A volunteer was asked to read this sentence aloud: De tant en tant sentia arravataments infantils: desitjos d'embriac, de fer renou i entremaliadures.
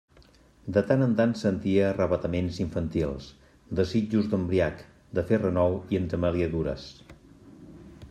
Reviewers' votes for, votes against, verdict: 2, 0, accepted